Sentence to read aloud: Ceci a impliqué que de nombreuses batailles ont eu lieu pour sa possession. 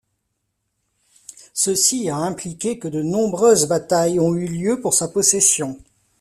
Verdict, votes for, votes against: rejected, 0, 2